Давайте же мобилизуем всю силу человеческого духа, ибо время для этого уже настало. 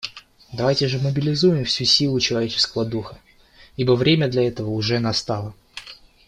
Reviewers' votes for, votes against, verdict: 2, 0, accepted